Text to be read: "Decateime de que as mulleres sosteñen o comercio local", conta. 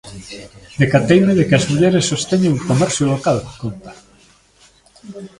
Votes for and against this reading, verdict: 2, 1, accepted